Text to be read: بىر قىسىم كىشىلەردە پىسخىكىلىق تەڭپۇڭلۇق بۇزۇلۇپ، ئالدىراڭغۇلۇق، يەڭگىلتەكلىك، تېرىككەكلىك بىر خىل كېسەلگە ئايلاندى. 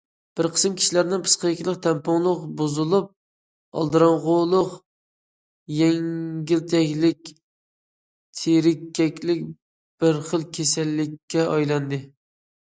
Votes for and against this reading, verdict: 0, 2, rejected